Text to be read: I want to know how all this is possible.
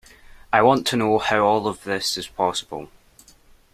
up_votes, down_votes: 0, 2